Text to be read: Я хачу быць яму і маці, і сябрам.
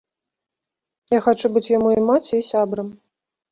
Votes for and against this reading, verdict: 2, 0, accepted